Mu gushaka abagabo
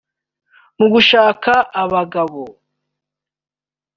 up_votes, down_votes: 2, 0